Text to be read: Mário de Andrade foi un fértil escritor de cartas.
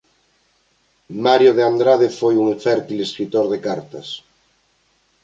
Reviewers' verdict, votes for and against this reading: rejected, 1, 2